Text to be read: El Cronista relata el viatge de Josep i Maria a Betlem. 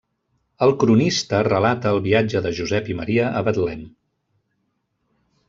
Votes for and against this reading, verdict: 0, 2, rejected